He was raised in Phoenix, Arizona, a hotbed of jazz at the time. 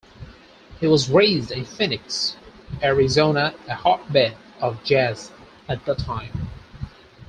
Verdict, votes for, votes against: accepted, 4, 2